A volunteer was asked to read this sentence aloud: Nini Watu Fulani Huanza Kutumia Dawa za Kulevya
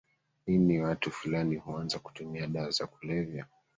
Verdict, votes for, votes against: rejected, 1, 2